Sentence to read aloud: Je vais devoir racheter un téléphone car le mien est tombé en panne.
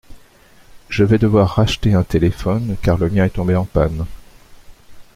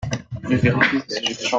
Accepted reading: first